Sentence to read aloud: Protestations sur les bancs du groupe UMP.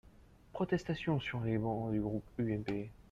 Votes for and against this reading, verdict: 0, 2, rejected